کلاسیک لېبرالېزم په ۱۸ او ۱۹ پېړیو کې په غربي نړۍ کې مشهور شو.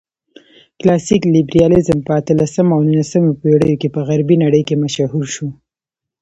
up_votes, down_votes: 0, 2